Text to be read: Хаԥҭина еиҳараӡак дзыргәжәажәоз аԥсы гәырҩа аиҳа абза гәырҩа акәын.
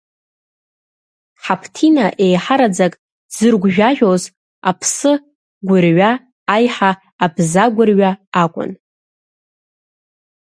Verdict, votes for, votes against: rejected, 0, 2